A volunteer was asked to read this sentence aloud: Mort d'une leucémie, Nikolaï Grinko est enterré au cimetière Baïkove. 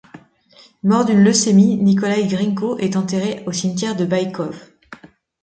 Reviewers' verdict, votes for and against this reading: rejected, 0, 2